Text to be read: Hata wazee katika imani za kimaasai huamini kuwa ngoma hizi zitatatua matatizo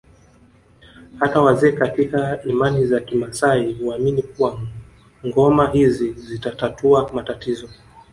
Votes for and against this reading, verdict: 2, 1, accepted